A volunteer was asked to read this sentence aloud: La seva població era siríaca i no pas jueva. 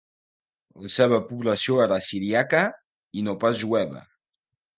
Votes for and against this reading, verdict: 2, 0, accepted